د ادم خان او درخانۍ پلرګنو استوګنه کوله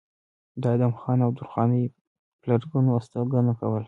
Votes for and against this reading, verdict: 2, 0, accepted